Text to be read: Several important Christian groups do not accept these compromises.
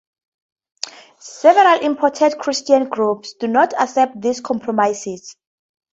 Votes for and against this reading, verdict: 2, 0, accepted